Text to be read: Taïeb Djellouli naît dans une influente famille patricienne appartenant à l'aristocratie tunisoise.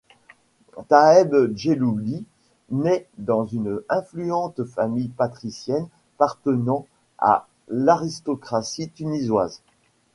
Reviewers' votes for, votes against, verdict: 0, 2, rejected